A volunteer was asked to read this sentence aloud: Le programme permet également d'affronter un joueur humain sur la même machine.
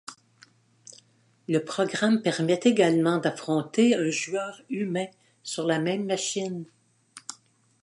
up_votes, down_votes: 2, 0